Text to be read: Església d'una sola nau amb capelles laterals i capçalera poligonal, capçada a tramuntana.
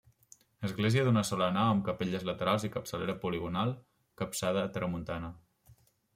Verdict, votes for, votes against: accepted, 2, 0